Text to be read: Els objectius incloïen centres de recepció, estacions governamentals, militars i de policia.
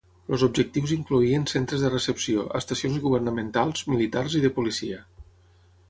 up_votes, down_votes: 0, 6